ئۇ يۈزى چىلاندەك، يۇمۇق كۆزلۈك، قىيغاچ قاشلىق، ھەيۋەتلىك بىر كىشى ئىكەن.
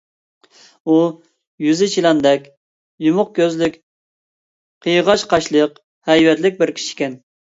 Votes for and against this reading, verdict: 2, 0, accepted